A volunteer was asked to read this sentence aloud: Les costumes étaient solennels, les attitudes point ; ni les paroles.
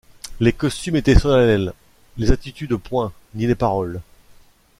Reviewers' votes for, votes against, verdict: 0, 2, rejected